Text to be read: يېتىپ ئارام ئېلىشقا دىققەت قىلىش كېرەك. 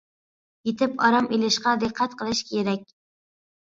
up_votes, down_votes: 2, 0